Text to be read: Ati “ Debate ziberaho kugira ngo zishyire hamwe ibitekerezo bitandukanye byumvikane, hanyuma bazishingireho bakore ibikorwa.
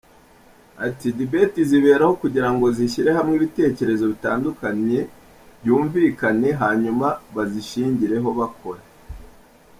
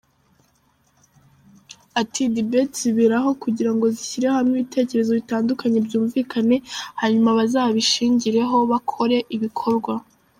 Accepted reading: second